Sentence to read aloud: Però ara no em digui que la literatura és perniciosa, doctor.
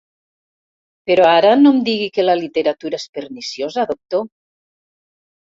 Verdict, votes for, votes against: accepted, 3, 0